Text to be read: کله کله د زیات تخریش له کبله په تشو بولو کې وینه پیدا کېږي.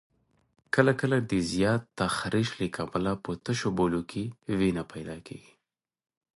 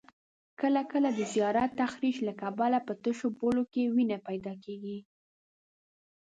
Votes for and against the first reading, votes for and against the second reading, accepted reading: 2, 0, 1, 2, first